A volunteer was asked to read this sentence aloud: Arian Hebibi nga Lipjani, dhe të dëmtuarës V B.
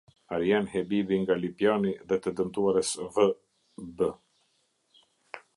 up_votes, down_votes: 0, 2